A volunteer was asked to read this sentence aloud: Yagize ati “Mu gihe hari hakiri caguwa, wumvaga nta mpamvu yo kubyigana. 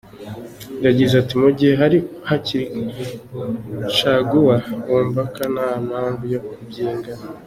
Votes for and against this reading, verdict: 0, 2, rejected